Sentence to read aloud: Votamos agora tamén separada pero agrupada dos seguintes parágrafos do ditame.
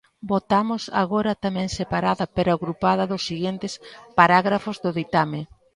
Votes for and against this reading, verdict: 0, 2, rejected